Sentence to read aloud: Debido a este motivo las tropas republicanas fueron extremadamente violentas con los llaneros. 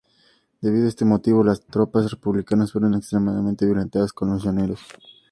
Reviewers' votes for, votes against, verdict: 2, 0, accepted